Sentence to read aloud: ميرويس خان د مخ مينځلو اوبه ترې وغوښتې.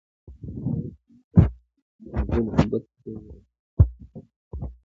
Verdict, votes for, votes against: rejected, 1, 2